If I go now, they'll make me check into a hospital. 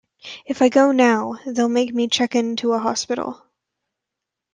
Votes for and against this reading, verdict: 2, 0, accepted